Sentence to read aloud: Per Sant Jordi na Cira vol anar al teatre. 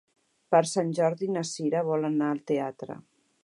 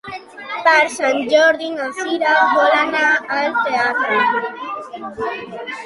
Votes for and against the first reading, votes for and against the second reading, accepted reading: 4, 0, 0, 2, first